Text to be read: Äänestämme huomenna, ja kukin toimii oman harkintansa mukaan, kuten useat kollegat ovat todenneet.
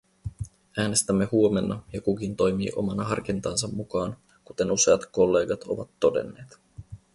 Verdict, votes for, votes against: rejected, 2, 2